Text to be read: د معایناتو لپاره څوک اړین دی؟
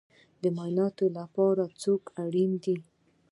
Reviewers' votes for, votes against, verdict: 2, 1, accepted